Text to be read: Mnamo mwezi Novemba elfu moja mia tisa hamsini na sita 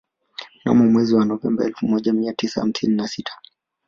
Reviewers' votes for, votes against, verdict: 0, 2, rejected